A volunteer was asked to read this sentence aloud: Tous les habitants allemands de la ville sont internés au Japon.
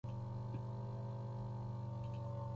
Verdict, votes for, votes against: rejected, 0, 2